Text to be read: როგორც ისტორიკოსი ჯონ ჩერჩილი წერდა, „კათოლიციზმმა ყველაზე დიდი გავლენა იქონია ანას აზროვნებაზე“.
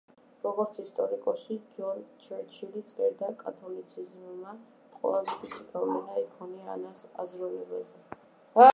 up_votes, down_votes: 2, 1